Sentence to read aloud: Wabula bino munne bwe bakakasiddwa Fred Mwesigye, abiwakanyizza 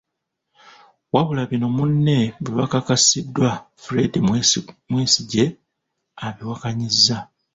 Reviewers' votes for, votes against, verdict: 0, 2, rejected